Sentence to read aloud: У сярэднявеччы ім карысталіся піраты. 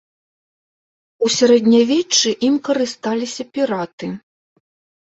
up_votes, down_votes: 2, 0